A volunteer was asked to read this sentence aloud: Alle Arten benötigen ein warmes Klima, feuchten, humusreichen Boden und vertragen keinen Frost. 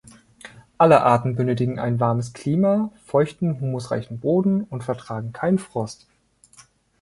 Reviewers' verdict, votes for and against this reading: accepted, 3, 0